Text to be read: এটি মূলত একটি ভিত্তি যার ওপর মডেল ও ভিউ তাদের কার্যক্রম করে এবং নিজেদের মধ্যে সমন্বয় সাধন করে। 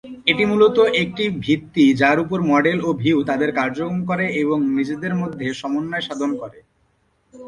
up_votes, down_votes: 1, 2